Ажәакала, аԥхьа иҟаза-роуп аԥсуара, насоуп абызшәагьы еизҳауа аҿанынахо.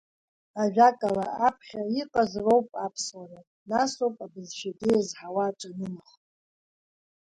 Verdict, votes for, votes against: accepted, 3, 0